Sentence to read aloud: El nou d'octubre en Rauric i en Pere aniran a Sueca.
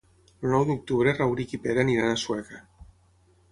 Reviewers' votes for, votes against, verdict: 3, 6, rejected